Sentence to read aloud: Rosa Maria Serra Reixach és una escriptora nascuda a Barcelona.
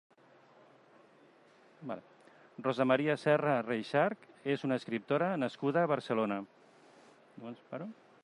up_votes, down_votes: 3, 2